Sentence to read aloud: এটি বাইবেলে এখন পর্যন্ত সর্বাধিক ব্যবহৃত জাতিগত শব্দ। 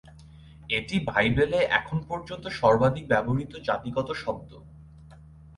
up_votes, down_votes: 4, 0